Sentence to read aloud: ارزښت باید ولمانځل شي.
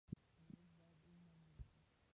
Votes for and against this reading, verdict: 2, 0, accepted